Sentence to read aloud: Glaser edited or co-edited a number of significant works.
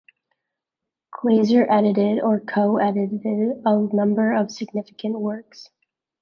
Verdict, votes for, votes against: rejected, 1, 2